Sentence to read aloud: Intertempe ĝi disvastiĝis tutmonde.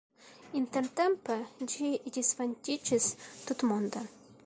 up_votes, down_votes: 1, 2